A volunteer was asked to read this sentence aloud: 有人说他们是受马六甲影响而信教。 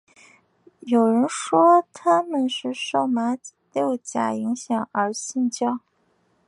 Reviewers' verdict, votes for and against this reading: rejected, 1, 2